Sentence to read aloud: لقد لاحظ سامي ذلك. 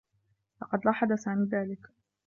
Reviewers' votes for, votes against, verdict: 2, 1, accepted